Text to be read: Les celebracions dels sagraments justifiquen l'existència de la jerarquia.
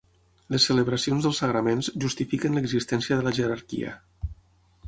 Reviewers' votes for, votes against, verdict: 9, 0, accepted